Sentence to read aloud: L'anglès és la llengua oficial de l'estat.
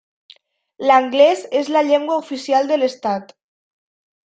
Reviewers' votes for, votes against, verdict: 3, 0, accepted